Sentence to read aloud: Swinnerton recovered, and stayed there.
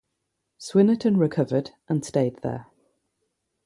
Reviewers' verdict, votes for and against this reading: accepted, 3, 0